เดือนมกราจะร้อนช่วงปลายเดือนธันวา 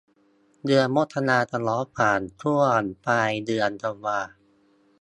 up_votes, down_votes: 0, 2